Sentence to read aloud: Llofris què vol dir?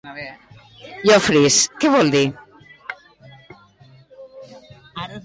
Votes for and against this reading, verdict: 2, 0, accepted